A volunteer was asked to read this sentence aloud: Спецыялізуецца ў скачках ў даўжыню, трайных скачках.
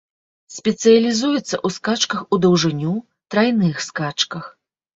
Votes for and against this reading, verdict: 1, 2, rejected